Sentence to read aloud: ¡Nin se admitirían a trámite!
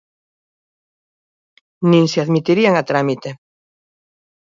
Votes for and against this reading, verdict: 2, 0, accepted